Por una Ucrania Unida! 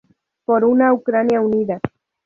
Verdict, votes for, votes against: rejected, 0, 2